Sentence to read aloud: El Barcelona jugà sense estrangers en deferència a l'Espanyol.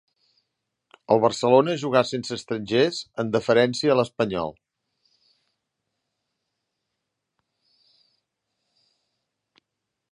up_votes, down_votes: 2, 0